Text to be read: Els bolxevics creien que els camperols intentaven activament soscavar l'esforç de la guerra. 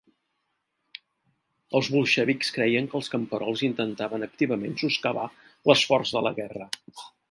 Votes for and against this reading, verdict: 0, 2, rejected